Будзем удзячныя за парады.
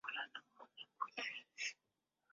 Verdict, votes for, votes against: rejected, 0, 2